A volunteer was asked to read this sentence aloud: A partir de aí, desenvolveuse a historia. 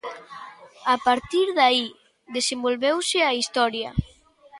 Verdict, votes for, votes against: accepted, 2, 0